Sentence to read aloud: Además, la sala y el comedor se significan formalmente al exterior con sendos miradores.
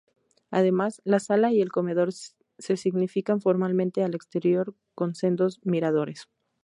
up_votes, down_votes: 2, 0